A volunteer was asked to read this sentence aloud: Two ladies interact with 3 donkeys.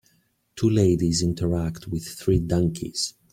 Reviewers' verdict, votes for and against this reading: rejected, 0, 2